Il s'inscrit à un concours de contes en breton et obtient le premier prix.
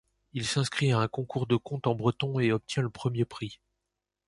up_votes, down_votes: 2, 0